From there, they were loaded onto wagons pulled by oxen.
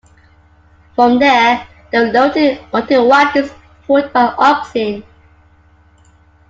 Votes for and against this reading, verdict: 1, 2, rejected